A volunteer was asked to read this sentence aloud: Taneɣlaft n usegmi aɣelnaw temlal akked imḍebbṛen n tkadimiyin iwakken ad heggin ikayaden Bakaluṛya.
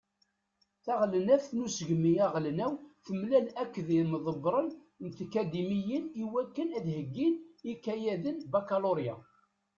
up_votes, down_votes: 0, 2